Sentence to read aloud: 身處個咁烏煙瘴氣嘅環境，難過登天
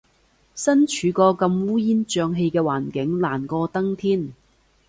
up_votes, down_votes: 2, 0